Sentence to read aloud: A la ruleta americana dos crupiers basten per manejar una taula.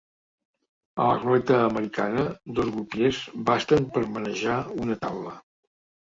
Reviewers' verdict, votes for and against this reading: rejected, 0, 2